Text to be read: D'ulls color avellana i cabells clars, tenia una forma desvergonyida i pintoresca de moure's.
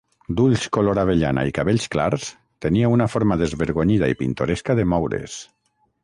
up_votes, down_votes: 6, 0